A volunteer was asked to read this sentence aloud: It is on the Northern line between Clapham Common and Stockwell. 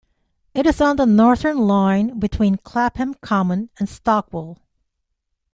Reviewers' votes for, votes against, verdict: 2, 0, accepted